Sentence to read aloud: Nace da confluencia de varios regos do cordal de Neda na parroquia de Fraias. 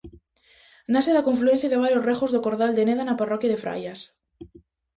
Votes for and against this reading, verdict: 2, 0, accepted